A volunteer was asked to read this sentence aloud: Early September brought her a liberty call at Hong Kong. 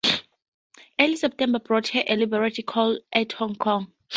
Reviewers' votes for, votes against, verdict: 2, 2, rejected